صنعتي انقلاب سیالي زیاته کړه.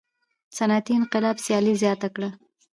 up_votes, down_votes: 1, 2